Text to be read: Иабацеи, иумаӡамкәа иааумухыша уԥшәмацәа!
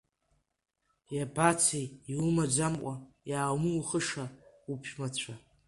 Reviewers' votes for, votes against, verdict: 2, 0, accepted